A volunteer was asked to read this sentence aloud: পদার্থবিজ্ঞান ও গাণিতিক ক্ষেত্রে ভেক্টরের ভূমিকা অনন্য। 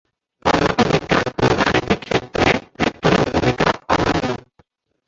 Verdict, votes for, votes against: rejected, 0, 2